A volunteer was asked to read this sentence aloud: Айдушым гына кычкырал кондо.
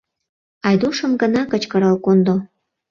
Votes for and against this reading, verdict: 2, 0, accepted